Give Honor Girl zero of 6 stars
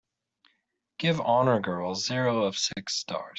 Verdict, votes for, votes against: rejected, 0, 2